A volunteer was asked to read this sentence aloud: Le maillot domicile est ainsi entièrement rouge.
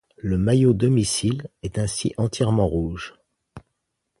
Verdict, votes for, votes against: accepted, 2, 0